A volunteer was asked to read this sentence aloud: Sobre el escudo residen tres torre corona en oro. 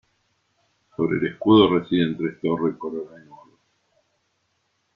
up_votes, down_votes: 1, 2